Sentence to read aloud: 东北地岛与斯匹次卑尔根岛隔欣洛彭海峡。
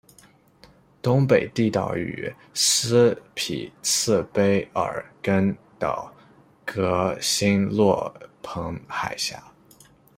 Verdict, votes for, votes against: accepted, 2, 0